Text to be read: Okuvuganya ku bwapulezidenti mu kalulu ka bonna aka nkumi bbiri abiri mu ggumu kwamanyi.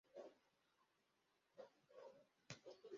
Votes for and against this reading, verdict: 0, 2, rejected